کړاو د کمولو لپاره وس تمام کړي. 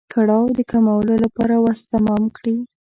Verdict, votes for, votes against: accepted, 2, 0